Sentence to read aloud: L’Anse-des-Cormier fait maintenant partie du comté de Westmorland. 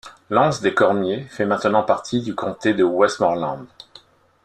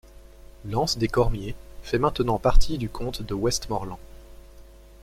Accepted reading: first